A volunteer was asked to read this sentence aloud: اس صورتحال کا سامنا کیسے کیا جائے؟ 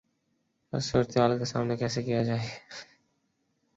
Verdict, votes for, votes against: rejected, 1, 2